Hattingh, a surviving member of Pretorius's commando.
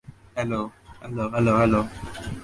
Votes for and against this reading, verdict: 0, 2, rejected